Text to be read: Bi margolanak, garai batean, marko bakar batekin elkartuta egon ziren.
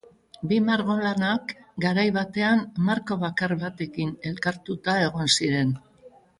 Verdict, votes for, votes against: accepted, 3, 1